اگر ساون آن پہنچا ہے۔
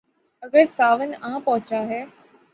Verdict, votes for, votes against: accepted, 6, 0